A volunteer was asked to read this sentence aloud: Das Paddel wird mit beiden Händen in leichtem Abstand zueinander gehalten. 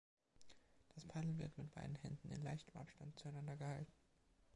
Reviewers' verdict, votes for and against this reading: accepted, 2, 0